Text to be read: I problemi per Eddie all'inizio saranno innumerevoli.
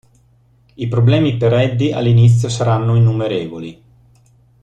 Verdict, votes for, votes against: accepted, 2, 0